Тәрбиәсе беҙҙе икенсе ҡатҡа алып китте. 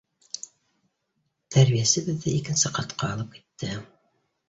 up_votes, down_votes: 3, 0